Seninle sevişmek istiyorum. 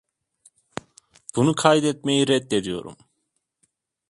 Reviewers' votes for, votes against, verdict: 0, 2, rejected